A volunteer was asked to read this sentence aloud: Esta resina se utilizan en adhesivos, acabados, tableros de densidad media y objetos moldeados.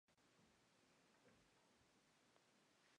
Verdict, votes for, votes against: rejected, 0, 2